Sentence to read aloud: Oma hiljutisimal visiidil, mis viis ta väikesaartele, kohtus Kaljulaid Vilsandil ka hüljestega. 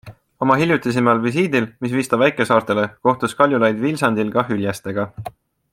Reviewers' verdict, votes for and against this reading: accepted, 2, 0